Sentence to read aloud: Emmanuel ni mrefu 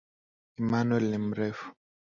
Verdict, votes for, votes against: accepted, 11, 0